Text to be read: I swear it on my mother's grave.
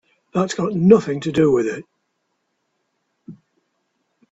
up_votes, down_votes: 0, 2